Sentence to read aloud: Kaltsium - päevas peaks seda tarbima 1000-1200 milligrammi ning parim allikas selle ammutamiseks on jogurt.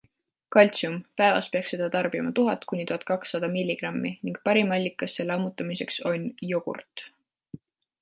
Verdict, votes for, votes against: rejected, 0, 2